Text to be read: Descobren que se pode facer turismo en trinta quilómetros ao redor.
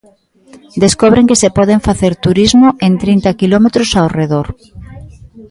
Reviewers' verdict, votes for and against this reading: rejected, 0, 2